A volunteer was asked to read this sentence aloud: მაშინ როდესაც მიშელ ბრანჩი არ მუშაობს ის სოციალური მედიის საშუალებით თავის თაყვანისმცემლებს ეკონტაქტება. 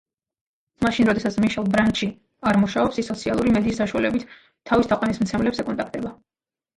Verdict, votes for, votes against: accepted, 2, 0